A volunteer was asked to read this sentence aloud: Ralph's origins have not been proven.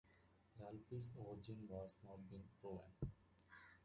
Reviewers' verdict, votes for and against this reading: rejected, 0, 2